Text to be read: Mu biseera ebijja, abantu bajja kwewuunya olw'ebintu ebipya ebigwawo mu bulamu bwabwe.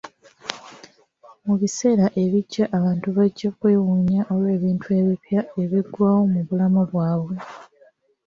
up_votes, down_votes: 2, 1